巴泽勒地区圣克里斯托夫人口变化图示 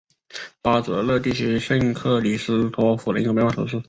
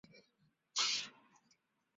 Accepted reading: first